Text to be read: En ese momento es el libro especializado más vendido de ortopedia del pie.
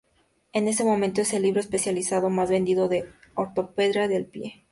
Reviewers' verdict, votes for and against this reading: rejected, 2, 2